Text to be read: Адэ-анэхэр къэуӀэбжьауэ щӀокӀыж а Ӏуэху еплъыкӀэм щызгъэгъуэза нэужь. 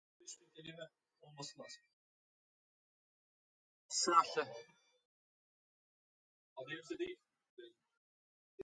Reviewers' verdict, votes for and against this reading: rejected, 0, 2